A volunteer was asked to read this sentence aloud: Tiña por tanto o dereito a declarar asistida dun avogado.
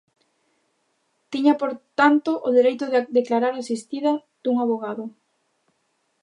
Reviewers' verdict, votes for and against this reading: rejected, 1, 2